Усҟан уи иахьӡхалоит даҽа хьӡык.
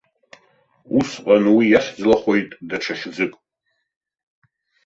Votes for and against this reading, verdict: 0, 2, rejected